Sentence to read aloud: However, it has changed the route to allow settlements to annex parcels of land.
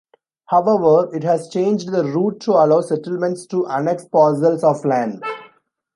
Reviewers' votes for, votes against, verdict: 3, 0, accepted